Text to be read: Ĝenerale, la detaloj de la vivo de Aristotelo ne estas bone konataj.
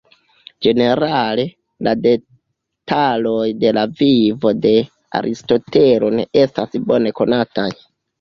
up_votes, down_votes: 0, 3